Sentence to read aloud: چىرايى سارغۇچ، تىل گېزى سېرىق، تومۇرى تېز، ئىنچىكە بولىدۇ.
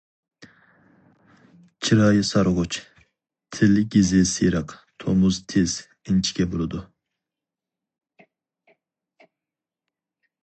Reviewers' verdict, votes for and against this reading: rejected, 0, 4